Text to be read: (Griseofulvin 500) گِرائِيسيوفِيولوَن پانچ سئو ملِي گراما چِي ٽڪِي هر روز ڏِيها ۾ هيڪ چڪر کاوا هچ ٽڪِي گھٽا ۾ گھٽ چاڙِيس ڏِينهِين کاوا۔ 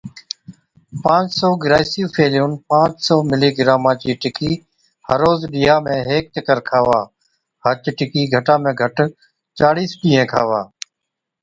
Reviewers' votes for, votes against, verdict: 0, 2, rejected